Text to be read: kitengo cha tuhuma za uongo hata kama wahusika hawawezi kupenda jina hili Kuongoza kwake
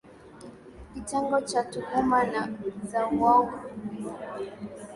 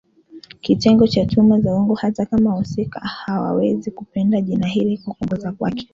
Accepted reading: second